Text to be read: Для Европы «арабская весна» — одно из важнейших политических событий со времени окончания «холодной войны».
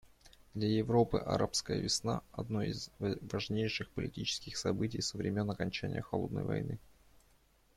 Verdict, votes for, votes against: rejected, 1, 2